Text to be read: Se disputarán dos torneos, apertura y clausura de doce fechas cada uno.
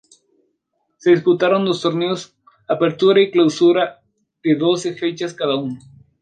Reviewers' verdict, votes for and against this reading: rejected, 0, 2